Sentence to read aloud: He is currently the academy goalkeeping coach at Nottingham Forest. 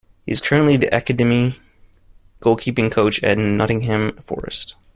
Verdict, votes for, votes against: rejected, 1, 2